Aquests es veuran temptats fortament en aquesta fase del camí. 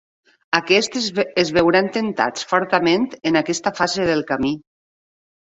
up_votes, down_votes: 6, 9